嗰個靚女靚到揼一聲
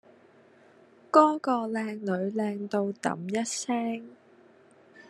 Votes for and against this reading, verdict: 1, 2, rejected